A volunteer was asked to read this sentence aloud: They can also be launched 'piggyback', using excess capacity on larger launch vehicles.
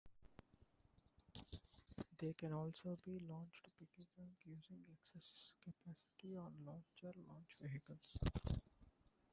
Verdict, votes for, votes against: rejected, 0, 2